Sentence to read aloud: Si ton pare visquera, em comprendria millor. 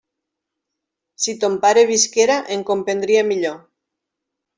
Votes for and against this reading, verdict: 0, 2, rejected